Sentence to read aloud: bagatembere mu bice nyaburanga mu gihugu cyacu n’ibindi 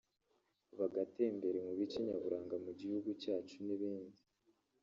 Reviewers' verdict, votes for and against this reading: rejected, 1, 3